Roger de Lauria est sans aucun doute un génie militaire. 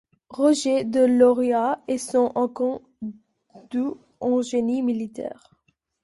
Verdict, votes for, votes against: accepted, 2, 1